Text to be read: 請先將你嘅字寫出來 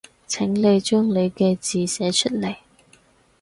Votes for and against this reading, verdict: 0, 4, rejected